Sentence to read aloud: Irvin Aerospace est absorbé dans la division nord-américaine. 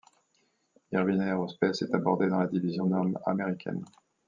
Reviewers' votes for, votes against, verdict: 0, 2, rejected